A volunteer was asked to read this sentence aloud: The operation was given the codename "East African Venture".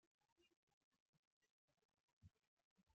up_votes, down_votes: 0, 2